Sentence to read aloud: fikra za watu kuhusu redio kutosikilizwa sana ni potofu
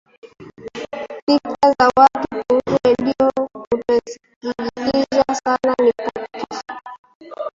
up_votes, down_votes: 0, 2